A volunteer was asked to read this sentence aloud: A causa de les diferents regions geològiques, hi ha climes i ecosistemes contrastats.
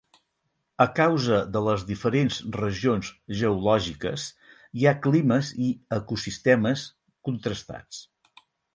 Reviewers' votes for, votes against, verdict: 6, 0, accepted